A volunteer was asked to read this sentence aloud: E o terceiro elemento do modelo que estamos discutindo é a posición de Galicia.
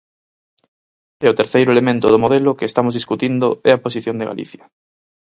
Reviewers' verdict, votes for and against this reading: accepted, 4, 0